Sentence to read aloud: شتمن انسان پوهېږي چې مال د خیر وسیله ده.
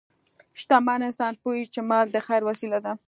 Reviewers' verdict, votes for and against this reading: accepted, 2, 0